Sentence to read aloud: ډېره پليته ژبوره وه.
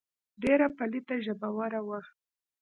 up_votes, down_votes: 2, 0